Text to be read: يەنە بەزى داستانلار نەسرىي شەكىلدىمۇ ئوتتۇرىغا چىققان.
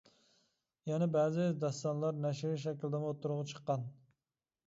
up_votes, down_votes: 0, 2